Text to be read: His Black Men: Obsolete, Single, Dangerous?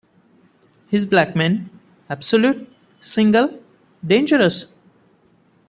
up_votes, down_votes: 2, 0